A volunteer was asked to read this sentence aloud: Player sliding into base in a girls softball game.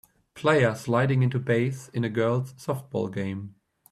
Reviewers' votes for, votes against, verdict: 2, 1, accepted